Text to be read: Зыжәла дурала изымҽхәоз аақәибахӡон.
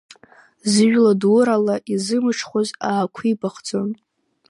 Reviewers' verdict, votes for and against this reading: accepted, 2, 0